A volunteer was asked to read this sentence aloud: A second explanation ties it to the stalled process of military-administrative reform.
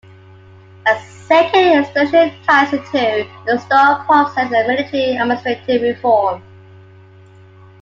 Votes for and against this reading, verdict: 2, 1, accepted